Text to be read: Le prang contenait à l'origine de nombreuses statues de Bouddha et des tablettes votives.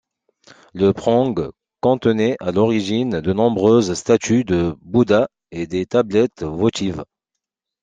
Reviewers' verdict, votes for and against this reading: accepted, 2, 0